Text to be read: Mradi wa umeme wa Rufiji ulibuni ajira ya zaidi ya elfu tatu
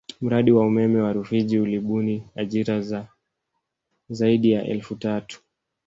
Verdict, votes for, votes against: accepted, 2, 1